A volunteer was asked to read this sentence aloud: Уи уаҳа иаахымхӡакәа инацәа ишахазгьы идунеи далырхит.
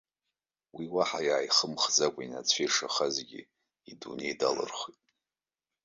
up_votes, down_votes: 1, 2